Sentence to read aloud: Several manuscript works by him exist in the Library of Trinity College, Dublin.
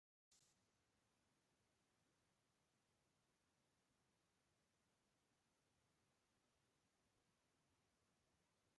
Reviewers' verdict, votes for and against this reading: rejected, 0, 2